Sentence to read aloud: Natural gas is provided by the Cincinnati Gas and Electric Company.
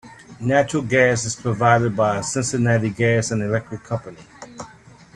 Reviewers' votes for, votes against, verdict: 2, 0, accepted